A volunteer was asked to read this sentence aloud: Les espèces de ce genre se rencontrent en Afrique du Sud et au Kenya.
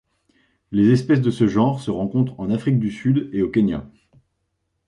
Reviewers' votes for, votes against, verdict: 2, 0, accepted